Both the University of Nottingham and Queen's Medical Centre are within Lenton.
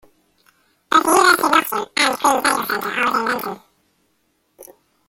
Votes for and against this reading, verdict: 0, 2, rejected